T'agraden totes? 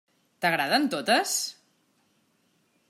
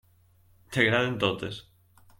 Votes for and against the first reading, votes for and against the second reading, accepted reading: 3, 0, 0, 2, first